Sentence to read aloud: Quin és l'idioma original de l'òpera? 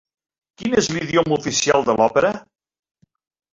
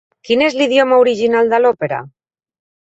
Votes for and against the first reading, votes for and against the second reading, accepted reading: 0, 2, 4, 0, second